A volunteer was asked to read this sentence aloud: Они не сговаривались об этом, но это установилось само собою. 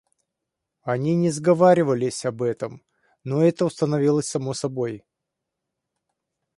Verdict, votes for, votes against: rejected, 0, 2